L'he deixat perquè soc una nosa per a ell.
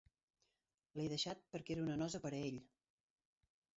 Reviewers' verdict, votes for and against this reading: rejected, 0, 2